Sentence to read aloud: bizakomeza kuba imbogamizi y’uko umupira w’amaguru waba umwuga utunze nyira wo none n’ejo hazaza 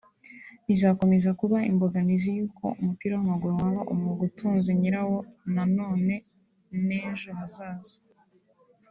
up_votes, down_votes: 1, 2